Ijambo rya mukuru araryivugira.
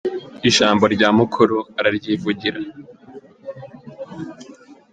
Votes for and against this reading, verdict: 2, 0, accepted